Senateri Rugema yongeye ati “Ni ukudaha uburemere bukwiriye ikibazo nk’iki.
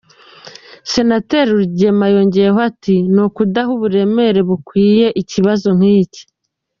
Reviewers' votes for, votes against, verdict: 0, 2, rejected